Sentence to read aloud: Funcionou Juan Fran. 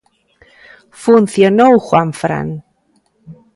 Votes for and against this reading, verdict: 2, 0, accepted